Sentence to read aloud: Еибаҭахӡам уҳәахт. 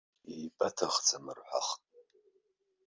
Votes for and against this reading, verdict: 0, 2, rejected